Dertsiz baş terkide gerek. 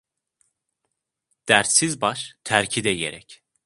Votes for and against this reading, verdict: 2, 0, accepted